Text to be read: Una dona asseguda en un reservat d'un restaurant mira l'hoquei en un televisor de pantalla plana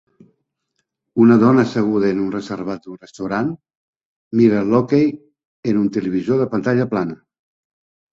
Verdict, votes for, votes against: accepted, 2, 1